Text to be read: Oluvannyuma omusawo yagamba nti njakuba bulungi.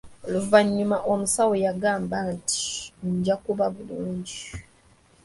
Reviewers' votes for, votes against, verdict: 2, 1, accepted